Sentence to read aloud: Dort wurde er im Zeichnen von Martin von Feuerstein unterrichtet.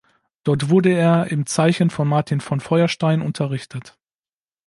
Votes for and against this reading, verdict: 1, 2, rejected